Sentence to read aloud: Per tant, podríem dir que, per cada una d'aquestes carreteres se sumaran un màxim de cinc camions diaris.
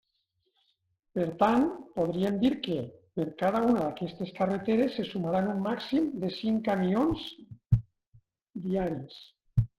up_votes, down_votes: 0, 2